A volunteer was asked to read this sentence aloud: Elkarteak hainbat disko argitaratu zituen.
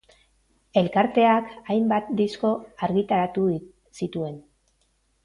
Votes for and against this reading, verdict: 2, 2, rejected